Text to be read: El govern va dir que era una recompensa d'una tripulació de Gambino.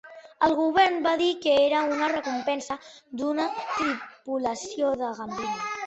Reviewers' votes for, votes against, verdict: 1, 2, rejected